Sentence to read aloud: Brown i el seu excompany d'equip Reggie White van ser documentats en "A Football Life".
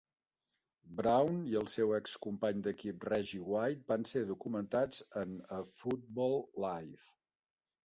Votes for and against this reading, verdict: 2, 0, accepted